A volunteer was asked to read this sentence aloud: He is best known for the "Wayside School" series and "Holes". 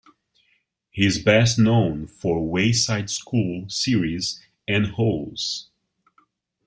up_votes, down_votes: 0, 2